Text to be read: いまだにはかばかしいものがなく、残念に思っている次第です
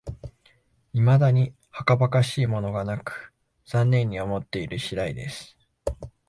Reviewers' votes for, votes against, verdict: 29, 0, accepted